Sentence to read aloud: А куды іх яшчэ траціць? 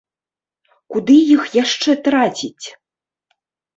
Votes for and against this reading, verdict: 2, 4, rejected